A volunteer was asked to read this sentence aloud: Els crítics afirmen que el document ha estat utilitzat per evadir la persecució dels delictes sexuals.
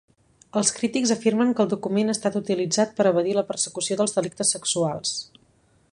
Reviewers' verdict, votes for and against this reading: accepted, 2, 0